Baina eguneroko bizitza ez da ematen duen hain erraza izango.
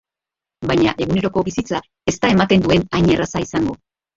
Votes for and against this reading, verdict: 0, 2, rejected